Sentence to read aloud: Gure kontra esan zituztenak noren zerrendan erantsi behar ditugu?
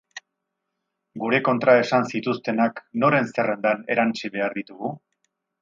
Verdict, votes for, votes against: accepted, 6, 0